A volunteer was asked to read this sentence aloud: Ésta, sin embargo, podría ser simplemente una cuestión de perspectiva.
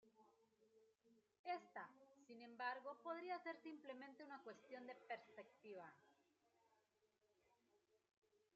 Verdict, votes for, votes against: rejected, 1, 2